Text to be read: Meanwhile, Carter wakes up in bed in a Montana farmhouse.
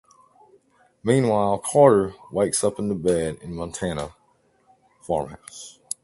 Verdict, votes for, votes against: rejected, 0, 2